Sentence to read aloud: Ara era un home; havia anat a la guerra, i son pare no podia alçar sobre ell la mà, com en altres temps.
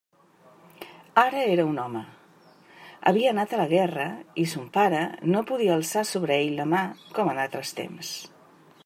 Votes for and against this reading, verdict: 1, 2, rejected